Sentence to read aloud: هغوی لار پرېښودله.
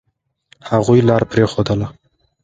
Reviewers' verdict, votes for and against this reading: accepted, 2, 0